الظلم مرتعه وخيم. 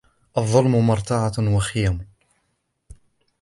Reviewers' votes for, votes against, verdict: 1, 4, rejected